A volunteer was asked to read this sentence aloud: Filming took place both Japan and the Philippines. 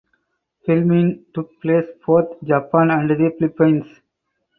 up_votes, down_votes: 2, 2